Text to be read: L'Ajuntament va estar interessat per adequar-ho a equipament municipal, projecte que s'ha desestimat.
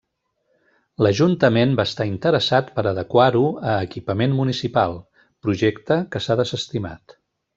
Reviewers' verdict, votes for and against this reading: rejected, 1, 2